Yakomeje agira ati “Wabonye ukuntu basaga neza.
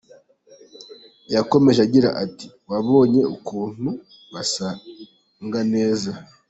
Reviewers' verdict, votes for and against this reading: rejected, 0, 2